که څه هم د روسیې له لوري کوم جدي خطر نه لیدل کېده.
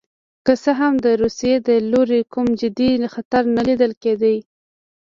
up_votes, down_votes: 0, 2